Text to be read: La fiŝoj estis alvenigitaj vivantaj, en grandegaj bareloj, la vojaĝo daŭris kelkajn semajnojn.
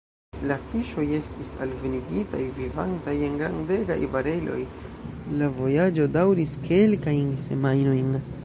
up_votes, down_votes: 2, 1